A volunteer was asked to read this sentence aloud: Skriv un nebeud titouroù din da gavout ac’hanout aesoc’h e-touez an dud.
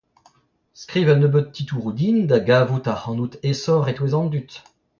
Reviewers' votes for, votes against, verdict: 0, 2, rejected